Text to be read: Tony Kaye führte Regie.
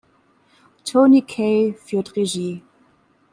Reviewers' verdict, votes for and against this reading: rejected, 1, 2